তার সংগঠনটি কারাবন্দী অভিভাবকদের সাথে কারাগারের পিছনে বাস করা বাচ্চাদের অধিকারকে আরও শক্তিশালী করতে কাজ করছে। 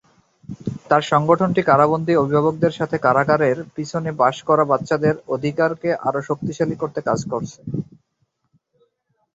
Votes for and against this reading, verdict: 4, 4, rejected